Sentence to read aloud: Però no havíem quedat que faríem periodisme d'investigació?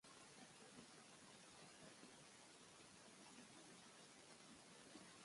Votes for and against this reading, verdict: 1, 2, rejected